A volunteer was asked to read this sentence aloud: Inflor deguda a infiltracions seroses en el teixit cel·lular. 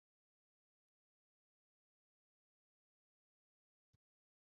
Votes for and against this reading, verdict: 0, 4, rejected